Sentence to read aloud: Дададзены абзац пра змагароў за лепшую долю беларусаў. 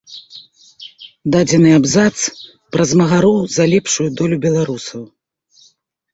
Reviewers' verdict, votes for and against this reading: rejected, 1, 2